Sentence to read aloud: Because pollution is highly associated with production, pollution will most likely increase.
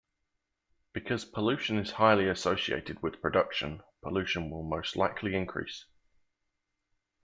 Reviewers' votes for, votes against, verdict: 2, 0, accepted